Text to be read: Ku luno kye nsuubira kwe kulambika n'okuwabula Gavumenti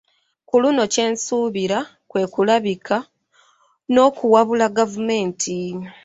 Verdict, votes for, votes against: rejected, 0, 2